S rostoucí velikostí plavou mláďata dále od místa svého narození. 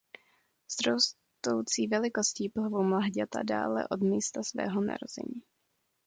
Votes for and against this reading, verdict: 2, 0, accepted